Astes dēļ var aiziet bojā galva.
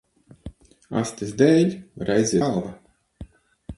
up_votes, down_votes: 0, 6